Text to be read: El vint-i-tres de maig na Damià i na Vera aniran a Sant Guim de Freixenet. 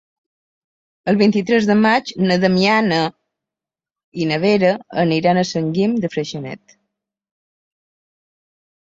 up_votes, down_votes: 0, 2